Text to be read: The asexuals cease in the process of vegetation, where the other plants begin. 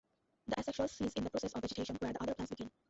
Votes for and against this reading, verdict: 0, 2, rejected